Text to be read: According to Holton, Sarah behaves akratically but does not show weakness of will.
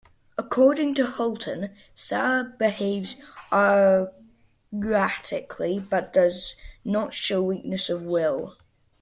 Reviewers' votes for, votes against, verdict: 0, 2, rejected